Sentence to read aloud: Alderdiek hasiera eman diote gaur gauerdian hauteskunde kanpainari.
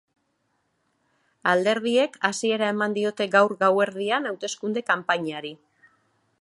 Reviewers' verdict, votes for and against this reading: accepted, 3, 0